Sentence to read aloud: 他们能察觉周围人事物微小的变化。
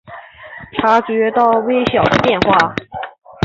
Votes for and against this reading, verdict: 0, 7, rejected